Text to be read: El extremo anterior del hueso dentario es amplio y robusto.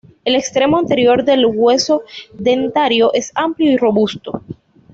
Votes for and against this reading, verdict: 2, 0, accepted